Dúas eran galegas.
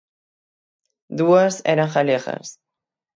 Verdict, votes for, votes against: accepted, 6, 0